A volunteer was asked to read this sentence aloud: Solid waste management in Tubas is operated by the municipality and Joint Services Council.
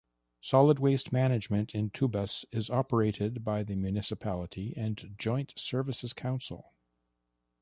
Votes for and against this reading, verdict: 2, 0, accepted